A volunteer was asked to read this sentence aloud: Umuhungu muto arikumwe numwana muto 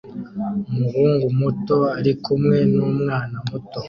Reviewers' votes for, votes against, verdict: 2, 0, accepted